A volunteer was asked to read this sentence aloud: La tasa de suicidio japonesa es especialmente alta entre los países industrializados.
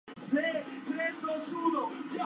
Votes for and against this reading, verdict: 0, 2, rejected